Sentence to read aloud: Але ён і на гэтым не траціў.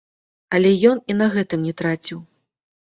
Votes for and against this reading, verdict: 1, 2, rejected